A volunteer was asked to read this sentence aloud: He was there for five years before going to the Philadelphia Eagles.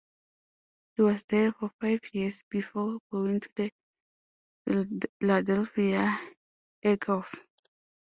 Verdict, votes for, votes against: rejected, 0, 2